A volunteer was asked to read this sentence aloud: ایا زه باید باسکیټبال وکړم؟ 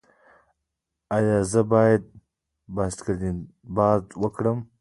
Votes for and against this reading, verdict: 2, 1, accepted